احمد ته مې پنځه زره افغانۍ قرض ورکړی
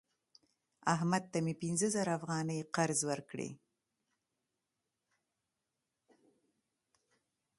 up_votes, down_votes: 2, 0